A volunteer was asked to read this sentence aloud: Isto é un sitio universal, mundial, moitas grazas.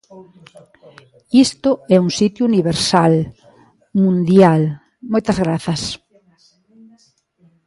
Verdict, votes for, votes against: accepted, 2, 0